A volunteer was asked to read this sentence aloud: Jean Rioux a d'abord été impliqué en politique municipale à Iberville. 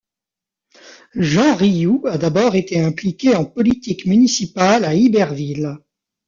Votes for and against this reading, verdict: 2, 0, accepted